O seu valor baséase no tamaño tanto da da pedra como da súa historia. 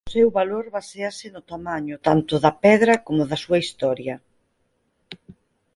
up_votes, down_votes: 0, 4